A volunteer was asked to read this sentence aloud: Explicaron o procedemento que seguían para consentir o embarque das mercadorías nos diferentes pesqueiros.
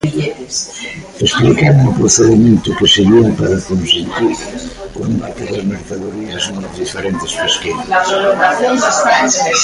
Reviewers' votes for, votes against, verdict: 0, 3, rejected